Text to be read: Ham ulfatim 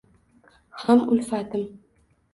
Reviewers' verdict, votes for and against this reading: accepted, 2, 0